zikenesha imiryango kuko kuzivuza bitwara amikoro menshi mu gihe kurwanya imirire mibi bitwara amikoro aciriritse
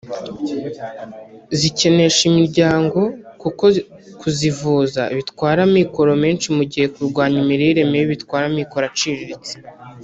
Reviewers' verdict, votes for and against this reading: rejected, 1, 2